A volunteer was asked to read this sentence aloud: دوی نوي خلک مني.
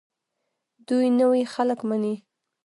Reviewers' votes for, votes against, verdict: 1, 2, rejected